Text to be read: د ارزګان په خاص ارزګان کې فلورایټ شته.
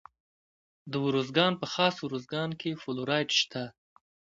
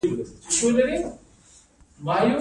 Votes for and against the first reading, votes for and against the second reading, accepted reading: 2, 0, 1, 2, first